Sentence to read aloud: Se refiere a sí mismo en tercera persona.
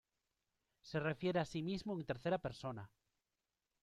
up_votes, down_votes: 3, 0